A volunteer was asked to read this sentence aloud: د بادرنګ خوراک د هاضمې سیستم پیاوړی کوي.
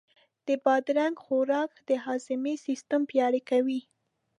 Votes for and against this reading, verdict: 2, 0, accepted